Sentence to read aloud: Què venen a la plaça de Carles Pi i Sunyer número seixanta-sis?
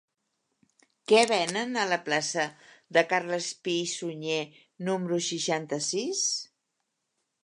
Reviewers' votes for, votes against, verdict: 3, 0, accepted